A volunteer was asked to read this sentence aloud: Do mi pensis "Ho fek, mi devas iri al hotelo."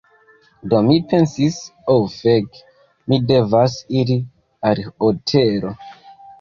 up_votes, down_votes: 0, 2